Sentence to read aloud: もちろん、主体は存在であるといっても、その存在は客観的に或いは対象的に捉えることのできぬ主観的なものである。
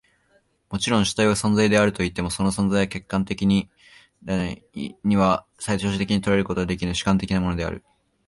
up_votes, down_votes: 0, 3